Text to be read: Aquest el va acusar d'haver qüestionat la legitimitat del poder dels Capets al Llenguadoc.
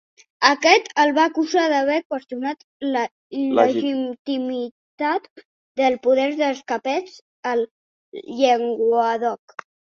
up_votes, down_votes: 0, 2